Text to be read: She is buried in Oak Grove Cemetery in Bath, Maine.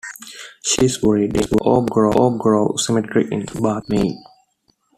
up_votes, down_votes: 0, 2